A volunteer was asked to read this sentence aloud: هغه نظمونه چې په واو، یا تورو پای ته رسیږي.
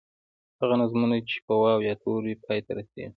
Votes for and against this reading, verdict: 0, 2, rejected